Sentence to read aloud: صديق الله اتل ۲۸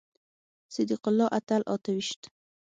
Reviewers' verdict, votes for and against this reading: rejected, 0, 2